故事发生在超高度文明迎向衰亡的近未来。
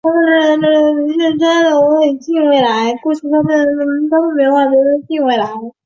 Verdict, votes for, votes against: rejected, 0, 2